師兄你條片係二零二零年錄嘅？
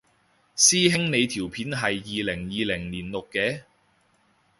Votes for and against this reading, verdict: 2, 0, accepted